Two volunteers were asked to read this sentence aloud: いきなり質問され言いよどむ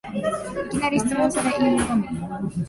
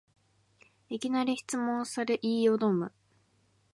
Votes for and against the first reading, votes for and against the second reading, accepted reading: 0, 2, 3, 0, second